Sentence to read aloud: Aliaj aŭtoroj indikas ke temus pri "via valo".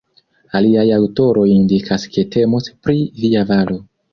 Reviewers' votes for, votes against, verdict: 1, 2, rejected